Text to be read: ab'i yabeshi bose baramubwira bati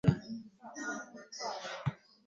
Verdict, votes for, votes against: rejected, 0, 2